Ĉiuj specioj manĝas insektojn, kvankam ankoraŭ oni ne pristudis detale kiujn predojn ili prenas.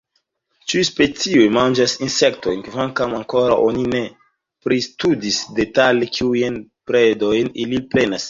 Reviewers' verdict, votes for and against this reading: accepted, 2, 0